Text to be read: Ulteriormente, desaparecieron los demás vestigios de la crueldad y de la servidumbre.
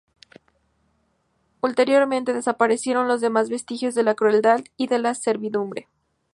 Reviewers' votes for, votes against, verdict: 2, 0, accepted